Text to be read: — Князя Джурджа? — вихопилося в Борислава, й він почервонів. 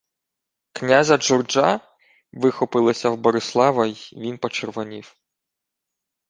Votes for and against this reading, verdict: 2, 0, accepted